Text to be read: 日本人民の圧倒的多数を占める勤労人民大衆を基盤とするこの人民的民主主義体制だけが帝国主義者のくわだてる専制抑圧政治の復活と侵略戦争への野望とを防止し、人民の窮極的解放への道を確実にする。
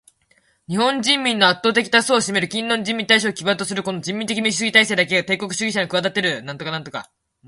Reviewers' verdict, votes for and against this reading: rejected, 1, 2